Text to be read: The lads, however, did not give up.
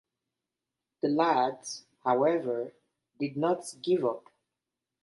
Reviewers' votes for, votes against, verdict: 1, 2, rejected